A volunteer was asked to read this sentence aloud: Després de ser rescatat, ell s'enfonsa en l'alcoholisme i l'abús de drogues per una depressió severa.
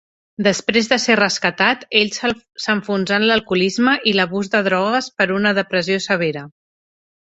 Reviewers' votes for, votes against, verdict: 1, 2, rejected